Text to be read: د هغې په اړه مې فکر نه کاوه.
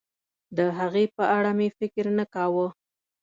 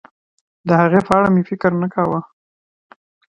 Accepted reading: second